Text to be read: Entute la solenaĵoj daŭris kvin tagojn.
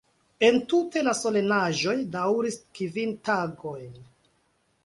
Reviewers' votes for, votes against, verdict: 2, 0, accepted